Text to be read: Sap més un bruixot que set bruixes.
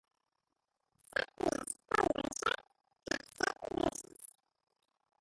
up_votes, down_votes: 0, 2